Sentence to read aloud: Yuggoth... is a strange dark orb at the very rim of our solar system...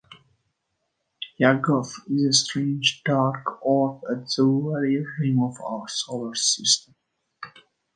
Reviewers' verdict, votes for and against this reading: rejected, 1, 2